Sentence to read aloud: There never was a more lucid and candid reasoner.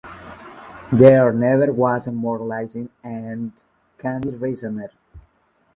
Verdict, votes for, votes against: rejected, 0, 2